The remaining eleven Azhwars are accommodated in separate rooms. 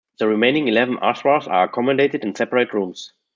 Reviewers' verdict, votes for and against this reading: accepted, 2, 0